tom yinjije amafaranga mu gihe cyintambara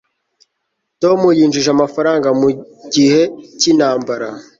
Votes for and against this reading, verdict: 4, 0, accepted